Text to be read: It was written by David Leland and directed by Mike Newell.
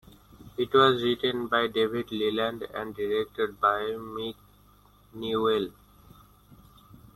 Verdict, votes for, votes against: rejected, 0, 2